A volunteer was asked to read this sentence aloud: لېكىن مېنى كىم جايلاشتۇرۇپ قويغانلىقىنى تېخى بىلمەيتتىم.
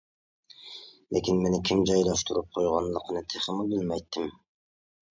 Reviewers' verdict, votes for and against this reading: rejected, 1, 2